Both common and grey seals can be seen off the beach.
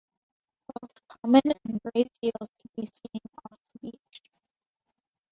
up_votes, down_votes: 1, 2